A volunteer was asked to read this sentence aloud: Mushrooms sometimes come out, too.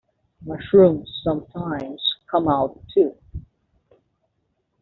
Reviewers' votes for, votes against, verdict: 2, 0, accepted